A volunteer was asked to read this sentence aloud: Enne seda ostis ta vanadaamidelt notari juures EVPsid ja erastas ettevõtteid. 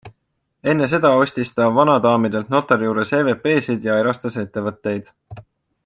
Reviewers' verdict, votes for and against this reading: accepted, 2, 0